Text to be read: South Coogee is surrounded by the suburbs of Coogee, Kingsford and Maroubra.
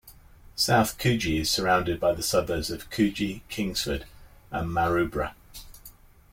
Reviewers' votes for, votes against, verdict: 2, 0, accepted